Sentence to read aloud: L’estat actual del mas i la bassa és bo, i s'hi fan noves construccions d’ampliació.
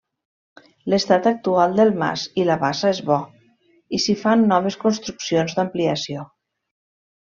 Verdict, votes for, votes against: accepted, 2, 0